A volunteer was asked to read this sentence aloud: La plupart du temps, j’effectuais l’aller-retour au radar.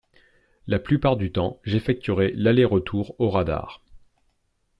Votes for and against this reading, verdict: 2, 3, rejected